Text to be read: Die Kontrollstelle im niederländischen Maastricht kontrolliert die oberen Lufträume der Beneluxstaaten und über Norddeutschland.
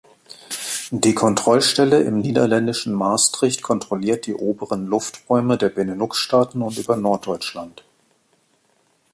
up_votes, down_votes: 2, 1